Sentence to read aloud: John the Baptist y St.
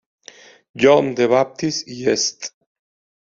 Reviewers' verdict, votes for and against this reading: accepted, 2, 0